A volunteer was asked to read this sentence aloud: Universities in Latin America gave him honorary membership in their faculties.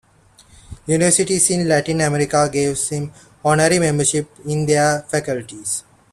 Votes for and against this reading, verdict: 1, 2, rejected